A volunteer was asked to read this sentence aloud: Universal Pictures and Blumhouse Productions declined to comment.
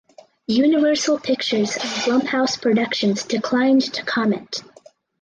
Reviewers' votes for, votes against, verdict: 4, 2, accepted